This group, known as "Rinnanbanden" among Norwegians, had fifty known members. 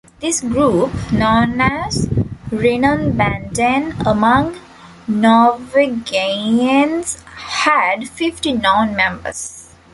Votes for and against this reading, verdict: 0, 2, rejected